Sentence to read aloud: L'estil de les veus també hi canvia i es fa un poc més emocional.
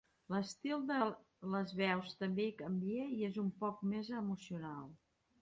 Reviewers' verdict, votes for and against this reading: rejected, 0, 2